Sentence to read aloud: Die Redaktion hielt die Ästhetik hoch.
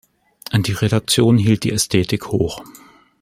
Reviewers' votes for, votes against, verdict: 1, 3, rejected